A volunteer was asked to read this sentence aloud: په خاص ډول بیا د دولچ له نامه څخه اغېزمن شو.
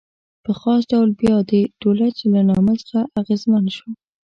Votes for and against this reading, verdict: 2, 0, accepted